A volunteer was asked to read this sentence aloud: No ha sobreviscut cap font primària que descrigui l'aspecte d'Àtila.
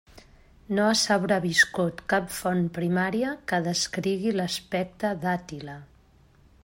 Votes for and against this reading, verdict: 1, 2, rejected